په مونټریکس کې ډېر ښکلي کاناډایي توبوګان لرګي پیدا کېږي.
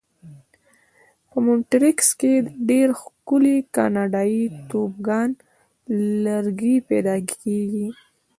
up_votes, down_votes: 1, 2